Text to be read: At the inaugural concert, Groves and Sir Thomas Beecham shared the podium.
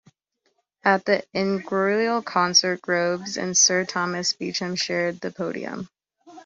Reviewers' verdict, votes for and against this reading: rejected, 0, 2